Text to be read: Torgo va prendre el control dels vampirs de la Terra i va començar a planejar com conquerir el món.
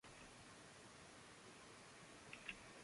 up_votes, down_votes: 0, 2